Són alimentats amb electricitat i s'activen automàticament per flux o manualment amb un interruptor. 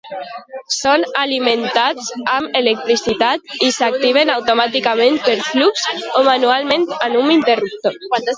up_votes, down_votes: 1, 2